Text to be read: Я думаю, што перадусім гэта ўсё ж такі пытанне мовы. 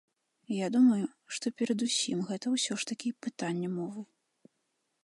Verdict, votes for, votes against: accepted, 2, 0